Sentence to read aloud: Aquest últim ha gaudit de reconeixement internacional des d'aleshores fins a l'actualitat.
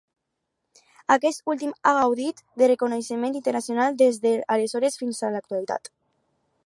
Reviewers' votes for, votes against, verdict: 4, 2, accepted